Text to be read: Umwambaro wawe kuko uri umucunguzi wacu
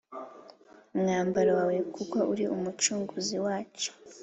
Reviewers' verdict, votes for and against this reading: accepted, 2, 0